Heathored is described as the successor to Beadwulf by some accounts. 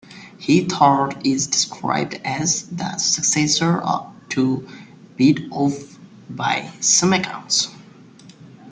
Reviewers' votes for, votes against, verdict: 0, 2, rejected